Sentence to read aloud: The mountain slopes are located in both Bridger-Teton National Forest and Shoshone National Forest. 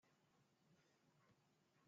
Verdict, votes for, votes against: rejected, 0, 2